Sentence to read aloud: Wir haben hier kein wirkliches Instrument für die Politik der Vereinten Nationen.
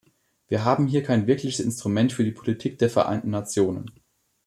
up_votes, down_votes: 2, 0